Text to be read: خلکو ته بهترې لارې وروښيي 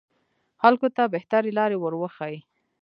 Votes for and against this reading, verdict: 2, 0, accepted